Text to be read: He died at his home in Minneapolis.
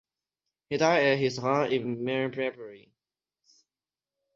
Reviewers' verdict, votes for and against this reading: rejected, 0, 6